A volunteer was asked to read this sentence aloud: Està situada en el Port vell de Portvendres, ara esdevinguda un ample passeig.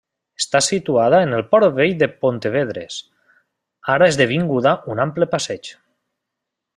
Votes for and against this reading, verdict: 0, 2, rejected